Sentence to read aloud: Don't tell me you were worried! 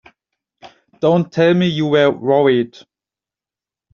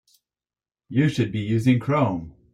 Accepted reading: first